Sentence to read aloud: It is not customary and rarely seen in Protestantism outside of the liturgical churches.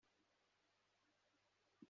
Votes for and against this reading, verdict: 0, 2, rejected